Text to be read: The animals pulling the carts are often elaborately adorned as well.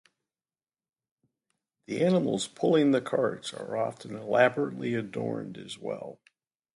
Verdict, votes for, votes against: accepted, 2, 0